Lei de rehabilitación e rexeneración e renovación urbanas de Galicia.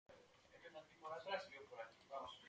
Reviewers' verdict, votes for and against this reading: rejected, 0, 2